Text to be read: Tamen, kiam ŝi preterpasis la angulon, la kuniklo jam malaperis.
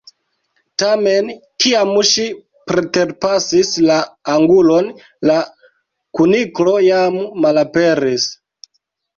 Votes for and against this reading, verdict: 1, 2, rejected